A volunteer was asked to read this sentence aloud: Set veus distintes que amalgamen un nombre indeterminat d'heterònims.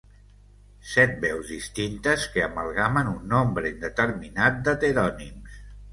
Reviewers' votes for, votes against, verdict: 2, 0, accepted